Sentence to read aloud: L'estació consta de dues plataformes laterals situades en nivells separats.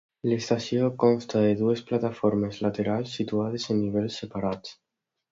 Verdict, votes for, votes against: accepted, 2, 0